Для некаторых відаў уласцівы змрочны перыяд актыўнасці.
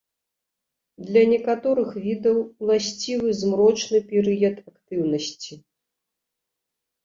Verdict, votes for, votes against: rejected, 1, 2